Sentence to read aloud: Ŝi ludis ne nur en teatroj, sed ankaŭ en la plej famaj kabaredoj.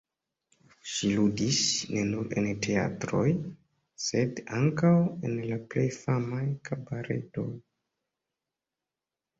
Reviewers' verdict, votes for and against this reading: rejected, 1, 2